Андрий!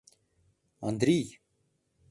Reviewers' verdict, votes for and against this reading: accepted, 2, 0